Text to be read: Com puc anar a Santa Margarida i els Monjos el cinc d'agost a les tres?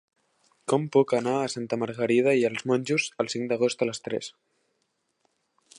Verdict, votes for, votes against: accepted, 3, 0